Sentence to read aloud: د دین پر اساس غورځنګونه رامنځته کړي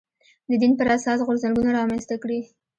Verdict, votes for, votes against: accepted, 3, 1